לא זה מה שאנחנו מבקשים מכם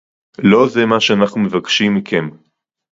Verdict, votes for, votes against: accepted, 2, 0